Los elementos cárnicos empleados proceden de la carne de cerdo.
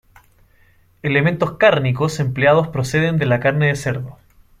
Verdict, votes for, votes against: rejected, 0, 2